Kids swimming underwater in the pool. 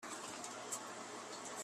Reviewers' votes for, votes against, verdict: 0, 2, rejected